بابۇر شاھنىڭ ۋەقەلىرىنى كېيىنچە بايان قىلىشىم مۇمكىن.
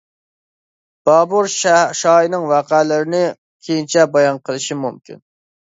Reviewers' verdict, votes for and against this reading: rejected, 0, 2